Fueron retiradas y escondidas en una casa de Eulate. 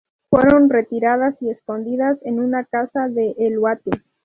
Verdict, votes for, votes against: rejected, 0, 2